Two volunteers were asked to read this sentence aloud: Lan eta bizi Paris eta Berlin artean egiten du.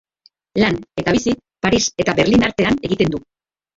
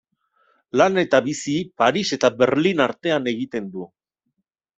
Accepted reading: second